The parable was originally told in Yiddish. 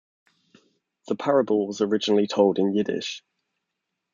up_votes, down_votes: 2, 0